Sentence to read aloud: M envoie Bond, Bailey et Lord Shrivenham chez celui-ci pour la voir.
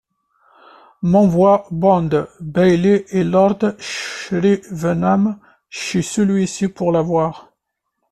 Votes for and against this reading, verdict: 0, 2, rejected